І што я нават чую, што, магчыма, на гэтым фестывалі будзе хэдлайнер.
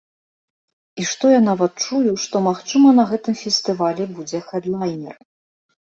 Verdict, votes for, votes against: accepted, 2, 0